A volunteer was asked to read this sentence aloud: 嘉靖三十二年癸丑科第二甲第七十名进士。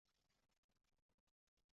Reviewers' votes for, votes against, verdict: 0, 3, rejected